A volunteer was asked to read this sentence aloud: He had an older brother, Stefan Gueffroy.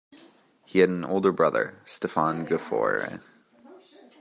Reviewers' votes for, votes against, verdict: 0, 2, rejected